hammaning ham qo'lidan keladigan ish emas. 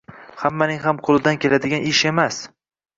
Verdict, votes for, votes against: rejected, 1, 2